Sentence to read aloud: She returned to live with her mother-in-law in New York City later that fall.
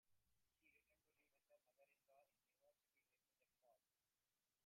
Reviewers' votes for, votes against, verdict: 0, 2, rejected